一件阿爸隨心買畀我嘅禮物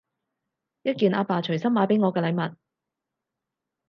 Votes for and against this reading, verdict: 4, 0, accepted